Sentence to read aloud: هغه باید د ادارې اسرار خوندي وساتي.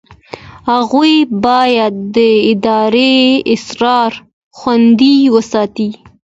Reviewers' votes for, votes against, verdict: 2, 0, accepted